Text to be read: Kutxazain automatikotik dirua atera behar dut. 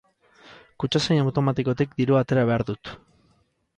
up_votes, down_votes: 4, 0